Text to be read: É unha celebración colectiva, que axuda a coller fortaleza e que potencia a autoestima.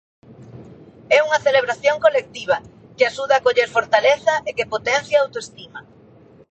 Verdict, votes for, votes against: accepted, 2, 0